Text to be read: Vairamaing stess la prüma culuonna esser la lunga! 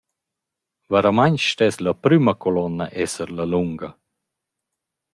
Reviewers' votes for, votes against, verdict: 2, 0, accepted